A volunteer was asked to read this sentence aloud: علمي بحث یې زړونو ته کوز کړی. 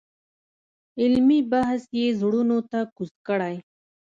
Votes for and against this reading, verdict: 2, 0, accepted